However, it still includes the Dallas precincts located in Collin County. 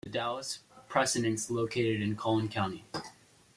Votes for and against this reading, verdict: 0, 2, rejected